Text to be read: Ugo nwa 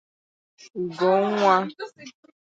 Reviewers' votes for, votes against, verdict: 4, 2, accepted